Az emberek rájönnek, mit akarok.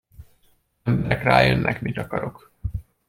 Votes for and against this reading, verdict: 0, 2, rejected